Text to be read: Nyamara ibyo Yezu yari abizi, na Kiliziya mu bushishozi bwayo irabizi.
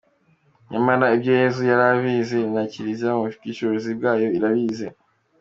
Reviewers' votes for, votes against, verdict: 2, 0, accepted